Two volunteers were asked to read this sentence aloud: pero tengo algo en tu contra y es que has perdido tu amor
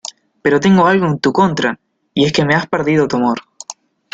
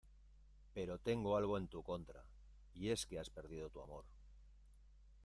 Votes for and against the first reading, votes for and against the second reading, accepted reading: 1, 2, 2, 1, second